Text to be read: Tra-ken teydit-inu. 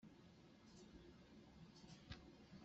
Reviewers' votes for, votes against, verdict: 0, 2, rejected